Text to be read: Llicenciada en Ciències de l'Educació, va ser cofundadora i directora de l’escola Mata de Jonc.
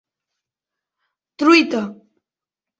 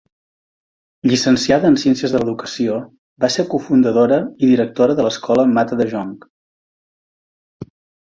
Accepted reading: second